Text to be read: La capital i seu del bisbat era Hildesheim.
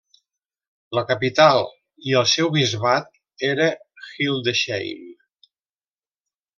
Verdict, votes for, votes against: rejected, 0, 2